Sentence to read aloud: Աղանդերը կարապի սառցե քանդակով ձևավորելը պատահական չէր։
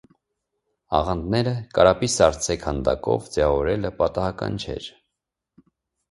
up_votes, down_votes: 2, 1